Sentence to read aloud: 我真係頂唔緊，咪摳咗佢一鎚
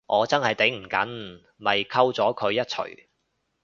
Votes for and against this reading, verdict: 2, 2, rejected